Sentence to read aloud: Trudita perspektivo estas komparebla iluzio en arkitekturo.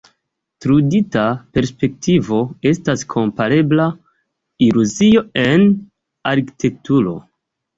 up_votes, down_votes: 1, 2